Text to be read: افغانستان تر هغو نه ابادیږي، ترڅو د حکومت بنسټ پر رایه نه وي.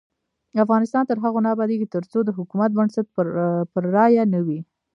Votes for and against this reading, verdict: 2, 1, accepted